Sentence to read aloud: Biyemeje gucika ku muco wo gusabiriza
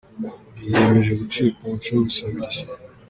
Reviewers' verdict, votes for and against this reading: rejected, 1, 2